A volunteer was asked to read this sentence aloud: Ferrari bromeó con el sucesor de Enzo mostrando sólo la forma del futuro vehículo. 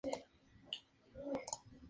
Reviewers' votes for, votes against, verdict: 4, 2, accepted